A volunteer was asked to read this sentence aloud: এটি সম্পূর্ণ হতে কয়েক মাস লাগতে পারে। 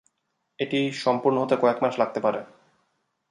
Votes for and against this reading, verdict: 4, 0, accepted